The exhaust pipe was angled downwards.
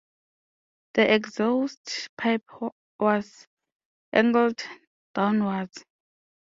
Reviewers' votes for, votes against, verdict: 2, 0, accepted